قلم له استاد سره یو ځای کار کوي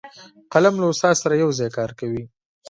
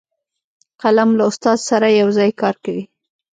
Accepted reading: first